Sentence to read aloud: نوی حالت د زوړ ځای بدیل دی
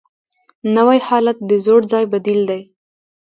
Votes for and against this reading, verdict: 2, 0, accepted